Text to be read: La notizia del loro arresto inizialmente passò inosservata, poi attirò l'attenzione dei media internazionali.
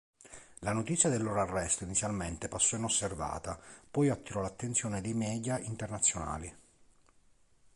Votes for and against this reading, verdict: 2, 0, accepted